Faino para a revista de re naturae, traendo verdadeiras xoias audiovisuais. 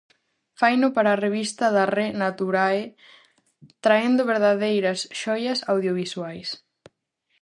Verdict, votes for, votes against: rejected, 0, 4